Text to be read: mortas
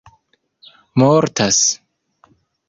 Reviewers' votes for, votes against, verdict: 2, 0, accepted